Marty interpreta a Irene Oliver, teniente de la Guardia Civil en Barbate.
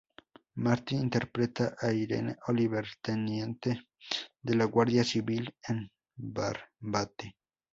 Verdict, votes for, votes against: rejected, 2, 2